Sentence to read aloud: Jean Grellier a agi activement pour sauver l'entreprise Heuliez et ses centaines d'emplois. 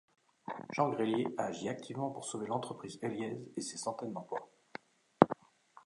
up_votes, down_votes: 0, 2